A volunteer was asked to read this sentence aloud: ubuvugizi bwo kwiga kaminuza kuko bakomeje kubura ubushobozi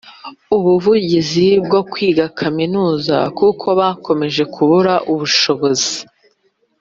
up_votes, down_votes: 2, 0